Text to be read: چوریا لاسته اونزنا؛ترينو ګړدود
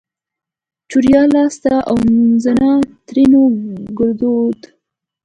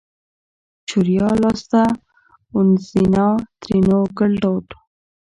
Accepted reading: first